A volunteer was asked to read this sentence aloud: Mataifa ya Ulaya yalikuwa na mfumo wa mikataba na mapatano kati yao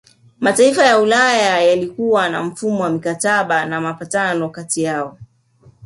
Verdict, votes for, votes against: accepted, 2, 1